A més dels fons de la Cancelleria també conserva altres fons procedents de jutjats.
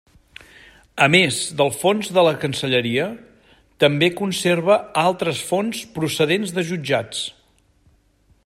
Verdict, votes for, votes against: rejected, 1, 2